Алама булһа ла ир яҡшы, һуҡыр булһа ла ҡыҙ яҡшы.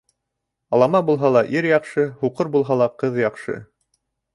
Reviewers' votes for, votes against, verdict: 2, 0, accepted